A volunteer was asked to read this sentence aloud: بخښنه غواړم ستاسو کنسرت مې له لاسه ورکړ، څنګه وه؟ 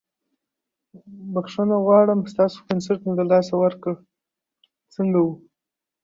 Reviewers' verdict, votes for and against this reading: accepted, 2, 0